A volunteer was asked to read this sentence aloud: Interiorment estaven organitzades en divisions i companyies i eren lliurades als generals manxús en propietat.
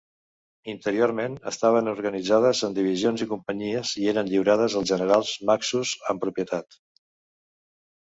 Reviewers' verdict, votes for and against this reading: rejected, 1, 2